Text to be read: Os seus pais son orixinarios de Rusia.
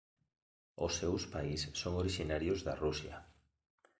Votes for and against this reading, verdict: 1, 2, rejected